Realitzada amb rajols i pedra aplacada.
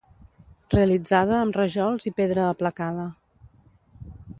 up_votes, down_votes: 2, 0